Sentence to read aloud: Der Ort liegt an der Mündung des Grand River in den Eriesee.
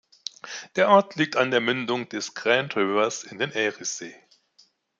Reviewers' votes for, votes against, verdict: 1, 2, rejected